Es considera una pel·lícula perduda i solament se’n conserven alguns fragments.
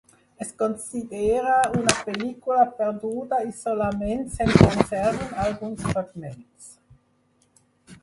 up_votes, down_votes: 2, 4